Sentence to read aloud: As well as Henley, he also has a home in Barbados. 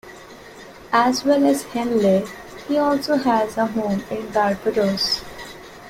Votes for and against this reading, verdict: 1, 2, rejected